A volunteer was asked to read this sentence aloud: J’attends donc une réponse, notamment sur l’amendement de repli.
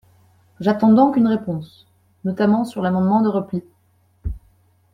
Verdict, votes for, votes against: accepted, 2, 0